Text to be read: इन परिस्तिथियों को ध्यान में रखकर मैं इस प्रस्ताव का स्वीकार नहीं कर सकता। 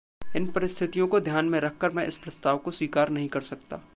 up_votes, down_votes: 0, 2